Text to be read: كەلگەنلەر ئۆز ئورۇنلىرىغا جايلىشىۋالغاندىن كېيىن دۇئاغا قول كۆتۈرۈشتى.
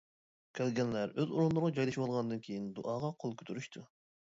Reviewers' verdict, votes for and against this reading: rejected, 1, 2